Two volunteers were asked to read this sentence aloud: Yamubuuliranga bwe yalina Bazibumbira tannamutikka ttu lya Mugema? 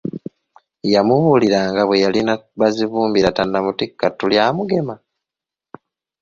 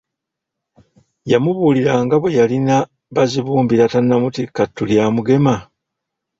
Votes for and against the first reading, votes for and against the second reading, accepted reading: 2, 0, 0, 2, first